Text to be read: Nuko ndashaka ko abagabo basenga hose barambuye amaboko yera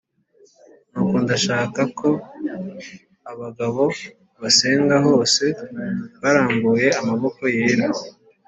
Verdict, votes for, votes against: accepted, 2, 0